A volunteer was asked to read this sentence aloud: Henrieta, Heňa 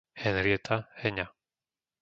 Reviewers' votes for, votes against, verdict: 2, 0, accepted